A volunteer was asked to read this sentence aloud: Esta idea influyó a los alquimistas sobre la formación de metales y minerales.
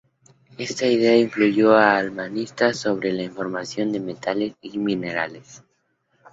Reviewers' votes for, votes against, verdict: 0, 2, rejected